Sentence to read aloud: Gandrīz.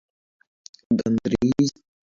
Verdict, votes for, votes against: rejected, 0, 2